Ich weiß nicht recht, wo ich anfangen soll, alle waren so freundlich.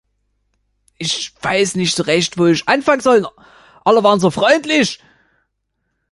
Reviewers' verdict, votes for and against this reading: rejected, 1, 2